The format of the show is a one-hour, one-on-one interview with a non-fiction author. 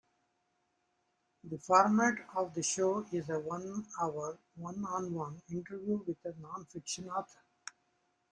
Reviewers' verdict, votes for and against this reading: accepted, 2, 0